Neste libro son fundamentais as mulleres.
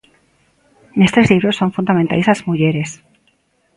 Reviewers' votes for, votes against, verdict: 0, 2, rejected